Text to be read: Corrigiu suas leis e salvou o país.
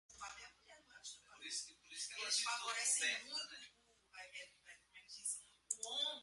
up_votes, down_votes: 0, 2